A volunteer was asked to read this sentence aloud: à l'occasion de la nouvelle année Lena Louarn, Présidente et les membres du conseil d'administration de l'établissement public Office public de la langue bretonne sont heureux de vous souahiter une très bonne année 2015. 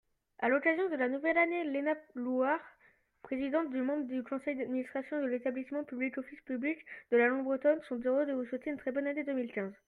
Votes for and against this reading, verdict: 0, 2, rejected